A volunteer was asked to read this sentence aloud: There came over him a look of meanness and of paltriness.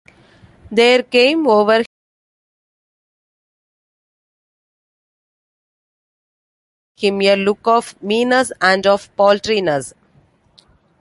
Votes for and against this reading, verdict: 0, 2, rejected